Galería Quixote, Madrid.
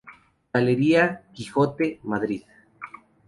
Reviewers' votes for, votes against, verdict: 2, 0, accepted